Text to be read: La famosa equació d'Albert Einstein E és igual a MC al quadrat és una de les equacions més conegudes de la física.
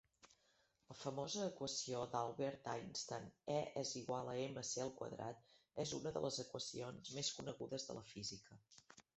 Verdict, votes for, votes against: rejected, 0, 2